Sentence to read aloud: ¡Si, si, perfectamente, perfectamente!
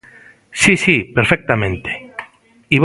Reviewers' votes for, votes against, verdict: 0, 2, rejected